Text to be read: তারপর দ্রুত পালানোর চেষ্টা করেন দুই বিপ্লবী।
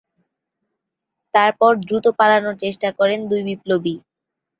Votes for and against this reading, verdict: 13, 1, accepted